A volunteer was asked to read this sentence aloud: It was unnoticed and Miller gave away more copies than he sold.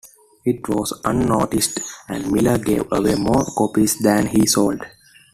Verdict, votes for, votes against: accepted, 2, 1